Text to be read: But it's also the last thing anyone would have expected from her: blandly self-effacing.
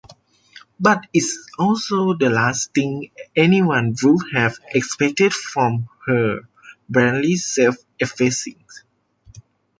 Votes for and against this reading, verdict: 2, 1, accepted